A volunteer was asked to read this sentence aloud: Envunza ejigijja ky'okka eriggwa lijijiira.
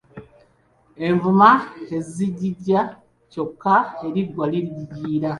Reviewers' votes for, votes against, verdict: 1, 2, rejected